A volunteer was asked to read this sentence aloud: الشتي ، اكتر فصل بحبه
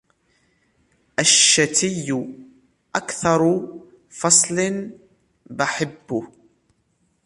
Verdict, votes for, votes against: rejected, 1, 2